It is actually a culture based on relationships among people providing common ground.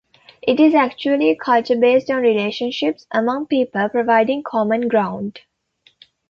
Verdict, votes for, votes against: rejected, 0, 2